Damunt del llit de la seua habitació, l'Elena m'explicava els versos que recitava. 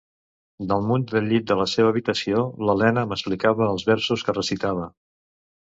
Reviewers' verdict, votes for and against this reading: rejected, 1, 2